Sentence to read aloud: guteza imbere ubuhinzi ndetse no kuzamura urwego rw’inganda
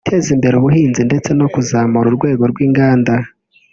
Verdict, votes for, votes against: rejected, 1, 2